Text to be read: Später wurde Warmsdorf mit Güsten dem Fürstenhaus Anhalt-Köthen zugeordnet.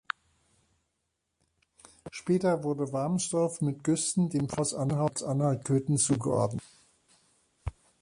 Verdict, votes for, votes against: rejected, 0, 2